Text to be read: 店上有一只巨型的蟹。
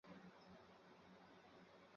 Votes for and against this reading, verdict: 0, 2, rejected